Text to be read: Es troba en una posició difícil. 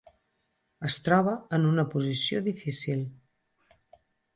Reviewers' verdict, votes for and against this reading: accepted, 4, 0